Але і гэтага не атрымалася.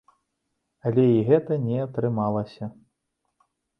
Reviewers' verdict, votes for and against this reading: rejected, 0, 2